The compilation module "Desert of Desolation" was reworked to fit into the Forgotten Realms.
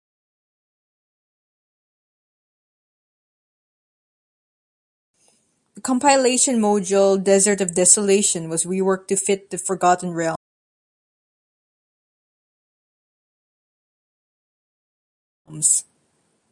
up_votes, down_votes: 1, 2